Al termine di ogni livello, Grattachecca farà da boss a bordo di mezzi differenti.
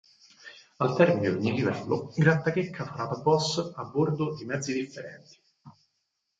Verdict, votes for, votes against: rejected, 2, 4